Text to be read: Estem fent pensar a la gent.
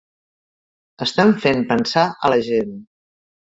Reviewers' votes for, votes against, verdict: 2, 1, accepted